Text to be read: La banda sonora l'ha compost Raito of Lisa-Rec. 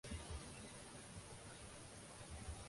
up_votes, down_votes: 0, 2